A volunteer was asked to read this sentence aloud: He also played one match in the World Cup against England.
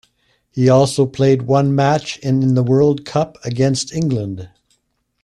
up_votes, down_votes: 2, 0